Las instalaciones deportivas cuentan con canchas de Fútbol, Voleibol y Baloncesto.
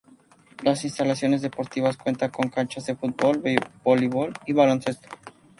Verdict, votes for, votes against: rejected, 0, 2